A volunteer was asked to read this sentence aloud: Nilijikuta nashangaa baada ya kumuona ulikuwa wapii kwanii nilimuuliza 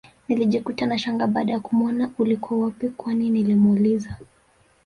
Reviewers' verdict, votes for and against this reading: rejected, 1, 2